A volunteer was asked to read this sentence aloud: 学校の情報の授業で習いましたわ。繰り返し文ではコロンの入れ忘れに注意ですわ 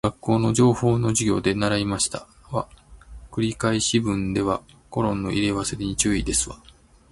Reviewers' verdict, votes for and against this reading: accepted, 2, 1